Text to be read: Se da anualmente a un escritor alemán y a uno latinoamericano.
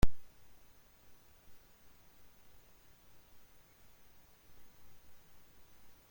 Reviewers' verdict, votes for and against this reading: rejected, 0, 2